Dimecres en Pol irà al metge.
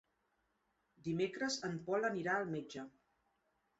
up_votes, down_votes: 0, 2